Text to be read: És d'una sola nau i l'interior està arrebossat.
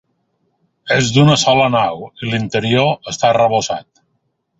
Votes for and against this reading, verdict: 2, 0, accepted